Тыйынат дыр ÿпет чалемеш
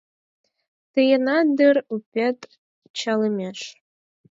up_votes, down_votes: 4, 2